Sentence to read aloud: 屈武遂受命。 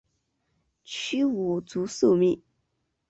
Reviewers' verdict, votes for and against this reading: rejected, 1, 2